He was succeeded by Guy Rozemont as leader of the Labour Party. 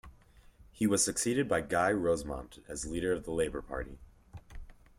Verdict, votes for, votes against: accepted, 2, 0